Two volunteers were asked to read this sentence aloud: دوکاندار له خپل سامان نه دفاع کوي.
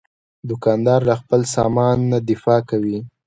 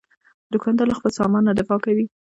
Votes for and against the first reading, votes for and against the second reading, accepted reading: 2, 0, 1, 2, first